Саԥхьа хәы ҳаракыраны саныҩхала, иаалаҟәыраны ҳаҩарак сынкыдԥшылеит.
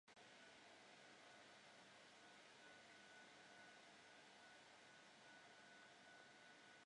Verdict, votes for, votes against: rejected, 0, 2